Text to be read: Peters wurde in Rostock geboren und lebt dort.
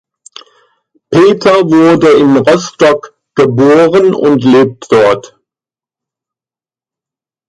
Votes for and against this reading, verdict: 0, 2, rejected